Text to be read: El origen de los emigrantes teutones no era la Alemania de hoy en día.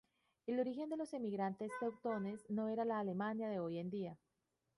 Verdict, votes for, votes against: accepted, 2, 0